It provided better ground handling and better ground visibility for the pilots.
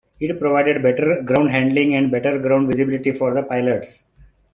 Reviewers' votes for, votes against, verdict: 2, 1, accepted